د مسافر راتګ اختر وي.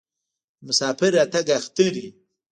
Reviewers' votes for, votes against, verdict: 1, 2, rejected